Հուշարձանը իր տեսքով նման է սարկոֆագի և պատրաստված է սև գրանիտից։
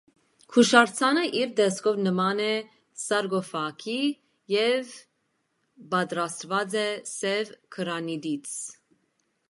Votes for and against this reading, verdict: 2, 0, accepted